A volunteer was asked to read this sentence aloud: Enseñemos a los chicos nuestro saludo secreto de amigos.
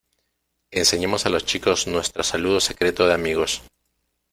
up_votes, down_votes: 2, 0